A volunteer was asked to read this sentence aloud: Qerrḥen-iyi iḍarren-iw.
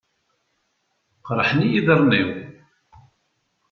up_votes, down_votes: 2, 0